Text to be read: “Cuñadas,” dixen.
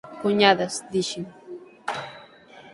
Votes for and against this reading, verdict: 9, 0, accepted